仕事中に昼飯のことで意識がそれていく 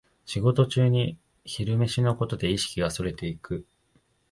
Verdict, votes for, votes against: accepted, 2, 0